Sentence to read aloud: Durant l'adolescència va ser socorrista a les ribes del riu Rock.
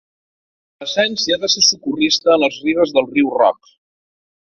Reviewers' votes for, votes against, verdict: 0, 3, rejected